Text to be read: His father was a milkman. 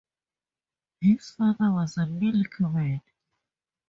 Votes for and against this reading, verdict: 4, 2, accepted